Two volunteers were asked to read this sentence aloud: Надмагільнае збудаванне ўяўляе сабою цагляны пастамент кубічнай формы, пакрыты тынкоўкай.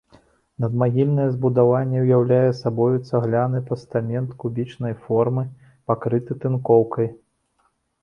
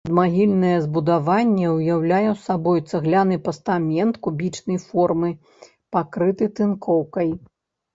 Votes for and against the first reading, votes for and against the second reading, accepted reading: 2, 0, 1, 2, first